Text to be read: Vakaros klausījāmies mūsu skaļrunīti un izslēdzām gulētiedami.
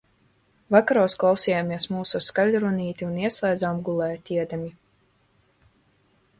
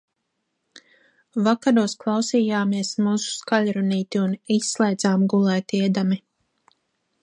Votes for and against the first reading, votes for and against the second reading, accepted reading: 0, 2, 2, 0, second